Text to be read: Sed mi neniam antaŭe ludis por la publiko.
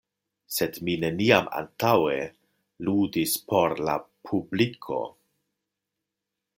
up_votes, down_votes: 2, 0